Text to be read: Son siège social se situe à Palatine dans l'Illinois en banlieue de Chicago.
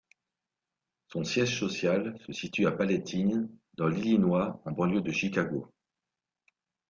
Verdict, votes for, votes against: rejected, 2, 3